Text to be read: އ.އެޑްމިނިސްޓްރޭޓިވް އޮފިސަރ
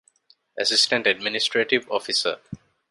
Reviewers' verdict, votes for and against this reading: rejected, 1, 2